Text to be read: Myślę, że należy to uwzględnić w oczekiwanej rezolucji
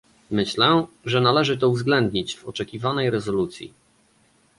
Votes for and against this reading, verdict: 2, 0, accepted